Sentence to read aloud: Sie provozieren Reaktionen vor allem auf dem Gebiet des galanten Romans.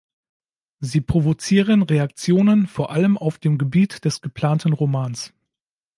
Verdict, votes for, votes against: rejected, 0, 2